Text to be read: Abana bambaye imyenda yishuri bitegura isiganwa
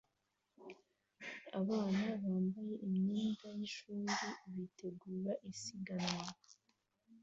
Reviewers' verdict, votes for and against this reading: rejected, 0, 2